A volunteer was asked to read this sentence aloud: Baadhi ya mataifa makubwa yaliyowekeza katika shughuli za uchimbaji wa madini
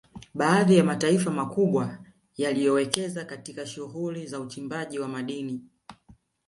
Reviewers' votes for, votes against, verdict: 5, 0, accepted